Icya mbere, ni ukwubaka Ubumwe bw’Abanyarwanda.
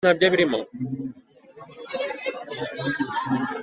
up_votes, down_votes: 0, 2